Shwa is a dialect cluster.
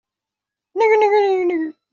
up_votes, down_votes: 0, 2